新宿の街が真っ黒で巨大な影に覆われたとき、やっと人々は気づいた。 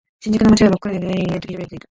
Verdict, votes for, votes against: rejected, 0, 2